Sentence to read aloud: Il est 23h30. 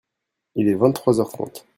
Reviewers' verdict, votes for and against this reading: rejected, 0, 2